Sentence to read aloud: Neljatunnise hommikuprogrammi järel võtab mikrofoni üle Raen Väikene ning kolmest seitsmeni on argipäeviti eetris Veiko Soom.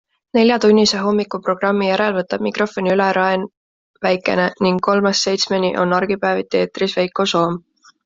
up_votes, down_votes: 2, 0